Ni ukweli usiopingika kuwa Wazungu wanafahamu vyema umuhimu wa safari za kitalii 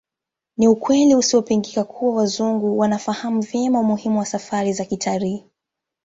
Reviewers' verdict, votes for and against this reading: accepted, 2, 0